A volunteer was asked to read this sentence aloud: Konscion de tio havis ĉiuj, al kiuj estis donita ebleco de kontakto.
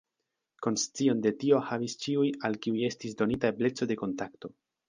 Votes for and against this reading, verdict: 2, 0, accepted